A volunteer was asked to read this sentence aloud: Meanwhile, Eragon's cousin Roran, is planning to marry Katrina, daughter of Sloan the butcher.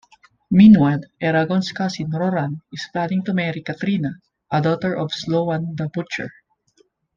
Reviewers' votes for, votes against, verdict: 1, 2, rejected